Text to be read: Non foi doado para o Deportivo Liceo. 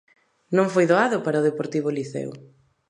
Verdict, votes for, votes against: accepted, 2, 1